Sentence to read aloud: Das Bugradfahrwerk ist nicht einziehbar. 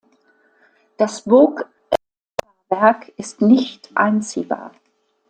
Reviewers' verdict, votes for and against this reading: rejected, 0, 2